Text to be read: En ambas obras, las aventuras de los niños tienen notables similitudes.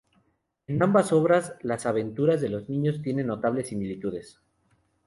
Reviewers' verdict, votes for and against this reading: accepted, 2, 0